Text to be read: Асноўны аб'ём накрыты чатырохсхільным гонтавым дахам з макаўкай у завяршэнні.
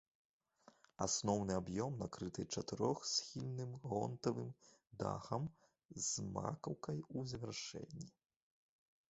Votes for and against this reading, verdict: 1, 3, rejected